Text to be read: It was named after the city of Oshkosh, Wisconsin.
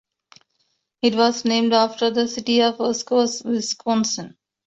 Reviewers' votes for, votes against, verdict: 2, 0, accepted